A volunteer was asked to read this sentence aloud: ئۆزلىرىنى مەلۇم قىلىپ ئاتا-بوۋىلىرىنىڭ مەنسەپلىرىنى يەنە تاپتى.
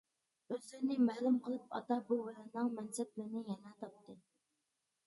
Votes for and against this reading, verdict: 1, 2, rejected